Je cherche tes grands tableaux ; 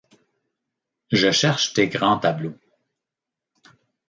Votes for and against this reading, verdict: 2, 0, accepted